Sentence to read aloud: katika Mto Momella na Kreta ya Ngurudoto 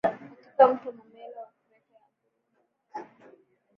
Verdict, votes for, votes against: rejected, 0, 2